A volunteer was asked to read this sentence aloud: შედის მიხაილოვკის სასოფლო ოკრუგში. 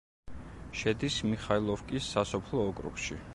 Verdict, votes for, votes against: accepted, 2, 0